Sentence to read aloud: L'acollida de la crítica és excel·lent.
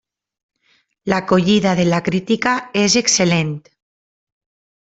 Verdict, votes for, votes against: accepted, 3, 0